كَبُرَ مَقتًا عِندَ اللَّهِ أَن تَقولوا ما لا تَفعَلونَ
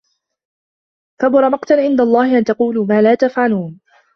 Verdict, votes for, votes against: accepted, 2, 0